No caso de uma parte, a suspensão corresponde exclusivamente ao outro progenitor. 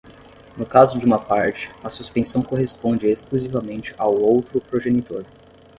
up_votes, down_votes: 5, 5